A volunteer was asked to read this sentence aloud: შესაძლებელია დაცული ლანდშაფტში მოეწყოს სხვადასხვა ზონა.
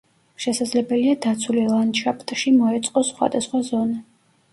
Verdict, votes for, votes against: rejected, 1, 2